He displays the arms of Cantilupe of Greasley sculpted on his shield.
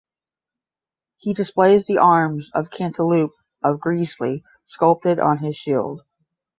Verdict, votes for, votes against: accepted, 10, 0